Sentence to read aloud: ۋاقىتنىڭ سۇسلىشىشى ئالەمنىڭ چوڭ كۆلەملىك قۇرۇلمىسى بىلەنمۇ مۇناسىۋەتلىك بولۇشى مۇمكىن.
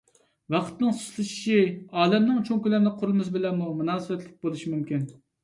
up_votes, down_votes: 2, 0